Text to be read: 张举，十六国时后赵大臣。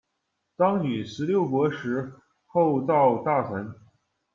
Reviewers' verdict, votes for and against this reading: rejected, 1, 2